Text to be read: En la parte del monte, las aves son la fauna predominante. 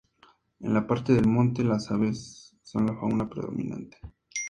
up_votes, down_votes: 2, 0